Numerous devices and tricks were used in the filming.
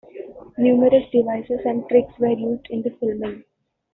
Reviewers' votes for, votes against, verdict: 2, 0, accepted